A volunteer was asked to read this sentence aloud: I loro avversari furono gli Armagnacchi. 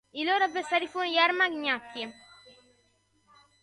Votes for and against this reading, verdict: 1, 2, rejected